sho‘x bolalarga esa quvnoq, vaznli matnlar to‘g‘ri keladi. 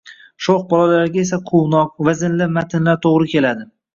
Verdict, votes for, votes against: rejected, 1, 2